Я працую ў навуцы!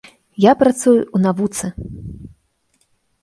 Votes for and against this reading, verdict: 2, 0, accepted